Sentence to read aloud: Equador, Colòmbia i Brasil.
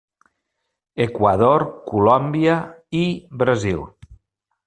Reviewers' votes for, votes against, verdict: 3, 0, accepted